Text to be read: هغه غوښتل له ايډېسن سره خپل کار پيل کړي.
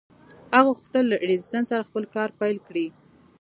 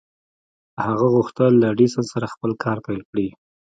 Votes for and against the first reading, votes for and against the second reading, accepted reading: 2, 0, 1, 2, first